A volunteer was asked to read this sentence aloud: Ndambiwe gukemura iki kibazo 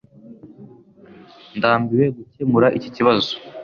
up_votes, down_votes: 2, 0